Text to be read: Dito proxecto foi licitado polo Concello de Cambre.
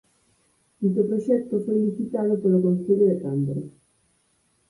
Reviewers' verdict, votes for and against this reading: accepted, 4, 0